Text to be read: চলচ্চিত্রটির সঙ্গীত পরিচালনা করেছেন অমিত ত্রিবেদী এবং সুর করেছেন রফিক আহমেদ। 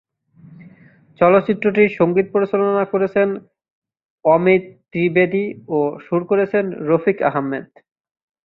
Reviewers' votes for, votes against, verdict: 1, 3, rejected